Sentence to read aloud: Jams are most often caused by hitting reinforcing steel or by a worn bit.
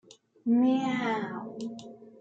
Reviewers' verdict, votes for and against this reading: rejected, 0, 3